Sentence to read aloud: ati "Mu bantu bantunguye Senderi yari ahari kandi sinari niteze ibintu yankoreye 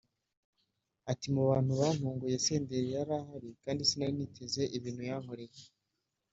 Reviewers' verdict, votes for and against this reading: accepted, 2, 0